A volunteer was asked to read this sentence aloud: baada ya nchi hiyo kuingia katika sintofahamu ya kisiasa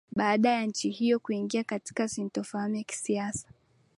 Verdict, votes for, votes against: accepted, 2, 1